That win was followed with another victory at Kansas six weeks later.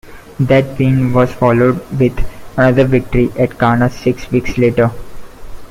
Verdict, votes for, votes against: accepted, 2, 1